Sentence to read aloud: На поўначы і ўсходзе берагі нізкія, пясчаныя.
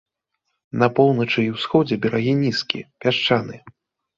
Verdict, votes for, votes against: accepted, 2, 0